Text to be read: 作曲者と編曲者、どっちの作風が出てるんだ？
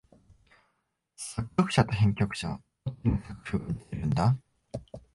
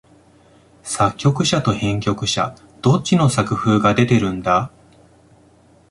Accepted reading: second